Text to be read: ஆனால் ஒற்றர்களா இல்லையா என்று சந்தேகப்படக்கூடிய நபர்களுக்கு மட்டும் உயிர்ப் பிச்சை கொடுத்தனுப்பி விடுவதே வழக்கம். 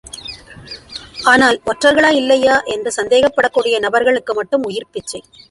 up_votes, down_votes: 0, 2